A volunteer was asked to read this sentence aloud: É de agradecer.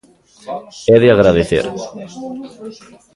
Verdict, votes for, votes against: rejected, 1, 2